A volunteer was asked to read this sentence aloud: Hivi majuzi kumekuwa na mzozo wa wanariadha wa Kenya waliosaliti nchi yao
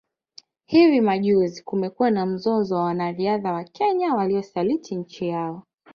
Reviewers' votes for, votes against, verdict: 3, 0, accepted